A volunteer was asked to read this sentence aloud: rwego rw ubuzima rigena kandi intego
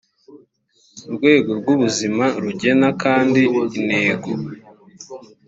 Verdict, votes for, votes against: accepted, 2, 1